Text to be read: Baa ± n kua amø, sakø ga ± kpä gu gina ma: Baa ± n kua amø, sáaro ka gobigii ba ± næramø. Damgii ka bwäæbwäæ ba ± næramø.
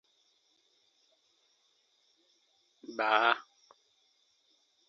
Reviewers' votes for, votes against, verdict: 0, 2, rejected